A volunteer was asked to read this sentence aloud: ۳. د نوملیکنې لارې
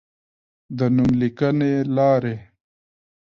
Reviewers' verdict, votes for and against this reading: rejected, 0, 2